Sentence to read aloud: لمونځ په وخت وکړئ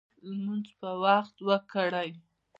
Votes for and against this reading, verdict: 2, 0, accepted